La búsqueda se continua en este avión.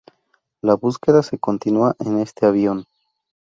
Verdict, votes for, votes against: accepted, 8, 0